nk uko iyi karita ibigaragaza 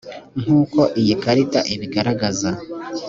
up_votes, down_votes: 2, 0